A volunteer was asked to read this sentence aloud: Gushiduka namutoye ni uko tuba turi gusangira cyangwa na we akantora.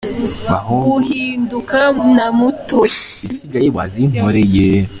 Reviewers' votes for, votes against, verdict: 0, 2, rejected